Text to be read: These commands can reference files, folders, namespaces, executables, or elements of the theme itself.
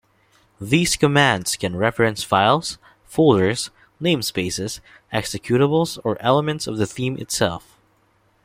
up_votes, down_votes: 2, 0